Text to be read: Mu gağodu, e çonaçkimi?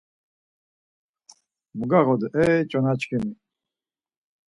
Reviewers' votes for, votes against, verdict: 4, 0, accepted